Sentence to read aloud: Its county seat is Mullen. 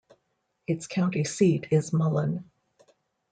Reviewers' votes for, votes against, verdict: 2, 0, accepted